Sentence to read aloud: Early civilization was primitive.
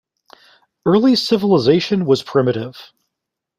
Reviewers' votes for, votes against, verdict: 2, 0, accepted